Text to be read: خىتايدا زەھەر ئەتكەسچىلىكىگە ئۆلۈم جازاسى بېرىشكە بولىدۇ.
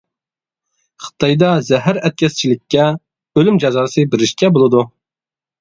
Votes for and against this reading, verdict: 0, 2, rejected